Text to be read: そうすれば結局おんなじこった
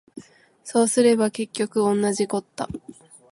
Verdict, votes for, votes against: accepted, 2, 0